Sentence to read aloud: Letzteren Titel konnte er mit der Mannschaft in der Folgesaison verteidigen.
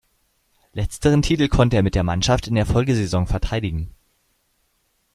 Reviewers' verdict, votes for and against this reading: rejected, 0, 2